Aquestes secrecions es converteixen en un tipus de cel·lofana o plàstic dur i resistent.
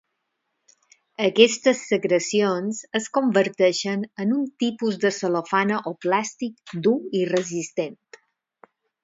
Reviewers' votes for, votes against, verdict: 4, 2, accepted